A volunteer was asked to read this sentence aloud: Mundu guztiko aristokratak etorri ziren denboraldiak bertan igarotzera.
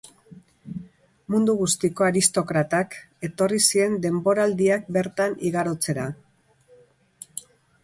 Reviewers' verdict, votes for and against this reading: rejected, 0, 2